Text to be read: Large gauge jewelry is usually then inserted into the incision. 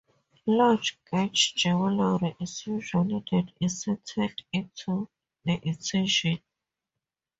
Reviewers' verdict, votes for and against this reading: rejected, 0, 2